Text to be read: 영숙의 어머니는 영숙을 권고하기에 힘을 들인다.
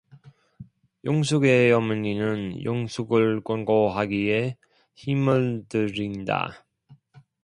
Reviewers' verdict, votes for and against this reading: accepted, 2, 0